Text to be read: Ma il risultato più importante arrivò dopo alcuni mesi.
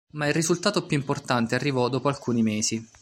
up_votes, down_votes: 2, 0